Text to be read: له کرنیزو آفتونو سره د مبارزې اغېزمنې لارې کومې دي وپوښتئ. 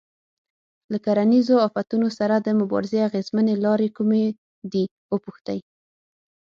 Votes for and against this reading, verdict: 6, 0, accepted